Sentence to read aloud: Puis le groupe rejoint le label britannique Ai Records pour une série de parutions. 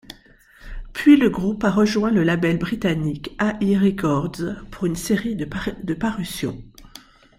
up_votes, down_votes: 0, 2